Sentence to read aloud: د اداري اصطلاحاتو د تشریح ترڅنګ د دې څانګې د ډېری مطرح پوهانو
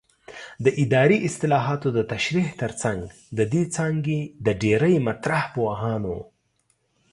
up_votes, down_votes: 2, 0